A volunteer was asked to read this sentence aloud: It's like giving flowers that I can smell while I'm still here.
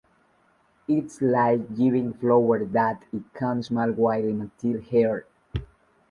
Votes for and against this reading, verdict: 1, 2, rejected